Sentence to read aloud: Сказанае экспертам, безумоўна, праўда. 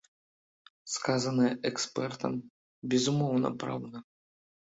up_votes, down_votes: 2, 0